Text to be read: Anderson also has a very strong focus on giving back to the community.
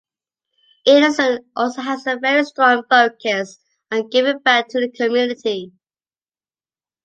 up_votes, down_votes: 2, 0